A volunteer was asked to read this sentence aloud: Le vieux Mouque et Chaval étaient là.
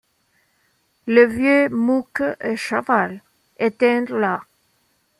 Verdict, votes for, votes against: rejected, 0, 2